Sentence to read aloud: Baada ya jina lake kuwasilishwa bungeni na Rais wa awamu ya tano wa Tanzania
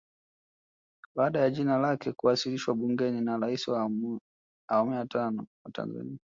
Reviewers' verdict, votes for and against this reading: accepted, 2, 1